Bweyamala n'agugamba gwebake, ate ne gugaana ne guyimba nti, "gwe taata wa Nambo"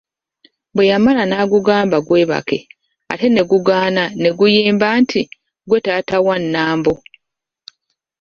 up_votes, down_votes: 1, 2